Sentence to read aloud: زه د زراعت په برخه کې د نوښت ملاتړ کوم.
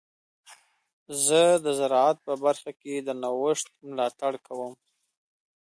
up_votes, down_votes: 2, 0